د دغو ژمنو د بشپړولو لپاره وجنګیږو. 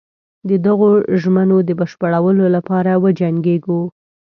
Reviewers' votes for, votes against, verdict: 3, 0, accepted